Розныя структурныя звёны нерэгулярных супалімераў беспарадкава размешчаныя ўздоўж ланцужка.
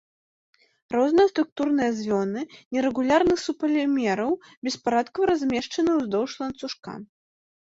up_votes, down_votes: 1, 2